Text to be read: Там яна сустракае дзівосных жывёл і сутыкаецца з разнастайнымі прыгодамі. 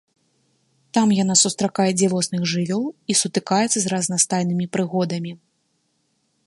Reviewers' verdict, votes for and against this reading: rejected, 1, 2